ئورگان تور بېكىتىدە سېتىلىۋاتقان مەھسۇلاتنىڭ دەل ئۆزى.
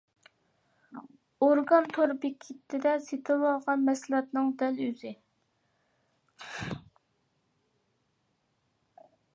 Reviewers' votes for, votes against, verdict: 0, 2, rejected